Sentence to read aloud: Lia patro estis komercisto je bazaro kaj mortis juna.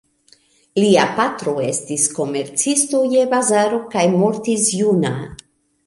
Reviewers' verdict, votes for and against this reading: accepted, 2, 0